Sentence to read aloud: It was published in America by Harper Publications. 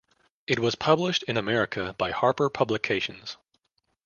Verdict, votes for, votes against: accepted, 2, 0